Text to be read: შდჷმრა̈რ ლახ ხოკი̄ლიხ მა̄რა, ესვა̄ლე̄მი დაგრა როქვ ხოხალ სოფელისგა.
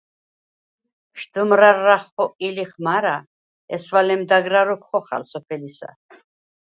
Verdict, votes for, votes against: rejected, 0, 4